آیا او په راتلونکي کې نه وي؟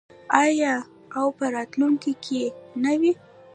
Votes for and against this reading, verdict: 1, 2, rejected